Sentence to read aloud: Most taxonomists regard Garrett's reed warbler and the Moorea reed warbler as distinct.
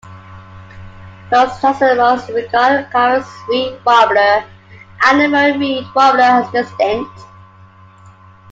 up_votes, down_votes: 0, 3